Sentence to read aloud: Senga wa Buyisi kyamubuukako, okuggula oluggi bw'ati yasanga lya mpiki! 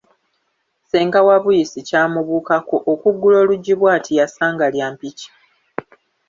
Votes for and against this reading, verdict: 2, 0, accepted